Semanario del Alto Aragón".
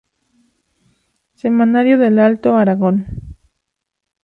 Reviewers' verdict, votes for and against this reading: accepted, 2, 0